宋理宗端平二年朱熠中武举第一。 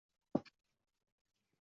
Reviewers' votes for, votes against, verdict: 2, 3, rejected